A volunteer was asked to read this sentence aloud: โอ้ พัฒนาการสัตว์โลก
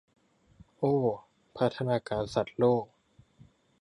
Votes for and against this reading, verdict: 2, 0, accepted